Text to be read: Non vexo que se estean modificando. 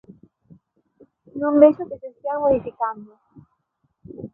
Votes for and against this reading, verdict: 1, 2, rejected